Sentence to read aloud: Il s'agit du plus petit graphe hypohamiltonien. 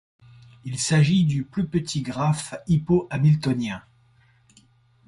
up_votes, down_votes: 2, 0